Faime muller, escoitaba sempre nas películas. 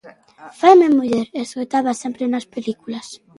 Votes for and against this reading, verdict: 2, 0, accepted